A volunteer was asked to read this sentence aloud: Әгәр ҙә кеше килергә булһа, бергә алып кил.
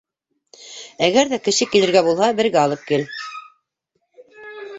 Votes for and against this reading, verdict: 0, 2, rejected